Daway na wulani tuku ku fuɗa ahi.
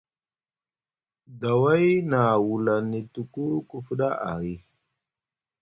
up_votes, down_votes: 1, 2